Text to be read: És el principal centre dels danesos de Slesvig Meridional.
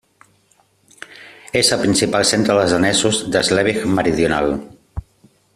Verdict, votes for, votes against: rejected, 1, 2